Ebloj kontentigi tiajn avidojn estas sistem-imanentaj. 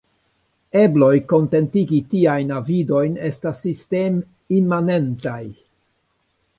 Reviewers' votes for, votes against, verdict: 2, 0, accepted